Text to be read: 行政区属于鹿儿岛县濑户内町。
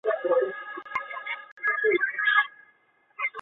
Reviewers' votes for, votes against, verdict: 0, 2, rejected